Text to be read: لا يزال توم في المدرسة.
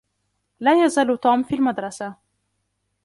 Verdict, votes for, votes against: accepted, 2, 0